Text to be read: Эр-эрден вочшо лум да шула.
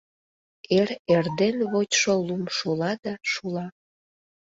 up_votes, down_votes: 0, 2